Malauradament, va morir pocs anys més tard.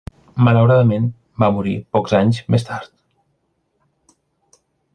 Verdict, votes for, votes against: accepted, 3, 1